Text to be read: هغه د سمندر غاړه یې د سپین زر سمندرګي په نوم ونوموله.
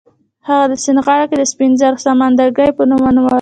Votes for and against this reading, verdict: 0, 2, rejected